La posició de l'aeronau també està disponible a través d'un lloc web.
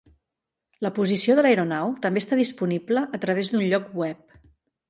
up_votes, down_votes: 3, 0